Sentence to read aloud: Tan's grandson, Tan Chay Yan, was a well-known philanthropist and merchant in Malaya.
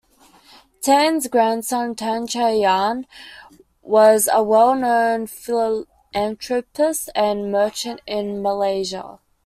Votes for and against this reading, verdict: 1, 2, rejected